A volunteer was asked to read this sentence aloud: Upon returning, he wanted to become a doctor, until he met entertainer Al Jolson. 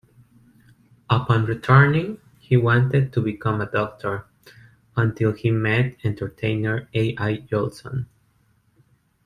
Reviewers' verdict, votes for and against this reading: rejected, 0, 2